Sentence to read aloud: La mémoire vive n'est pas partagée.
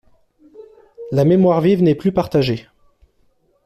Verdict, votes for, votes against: rejected, 0, 2